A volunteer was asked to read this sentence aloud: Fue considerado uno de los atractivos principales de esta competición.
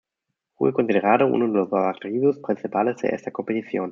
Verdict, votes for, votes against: rejected, 0, 2